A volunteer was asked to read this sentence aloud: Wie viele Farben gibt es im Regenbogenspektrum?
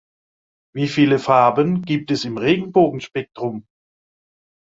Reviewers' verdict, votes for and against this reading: accepted, 2, 0